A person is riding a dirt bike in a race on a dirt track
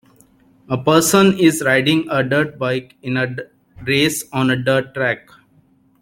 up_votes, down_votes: 2, 3